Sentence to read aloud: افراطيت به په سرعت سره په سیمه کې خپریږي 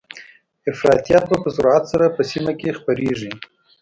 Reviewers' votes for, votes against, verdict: 2, 0, accepted